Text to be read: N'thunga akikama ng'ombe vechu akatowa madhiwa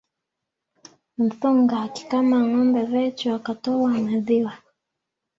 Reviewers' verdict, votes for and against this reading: accepted, 3, 0